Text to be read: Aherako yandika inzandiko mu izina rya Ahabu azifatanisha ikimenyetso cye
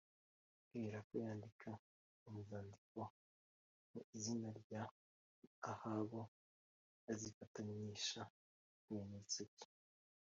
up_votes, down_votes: 3, 1